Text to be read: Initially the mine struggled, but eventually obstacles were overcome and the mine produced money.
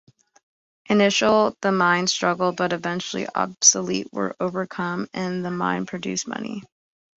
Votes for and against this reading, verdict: 0, 2, rejected